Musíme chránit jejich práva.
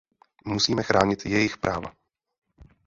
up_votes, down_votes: 0, 2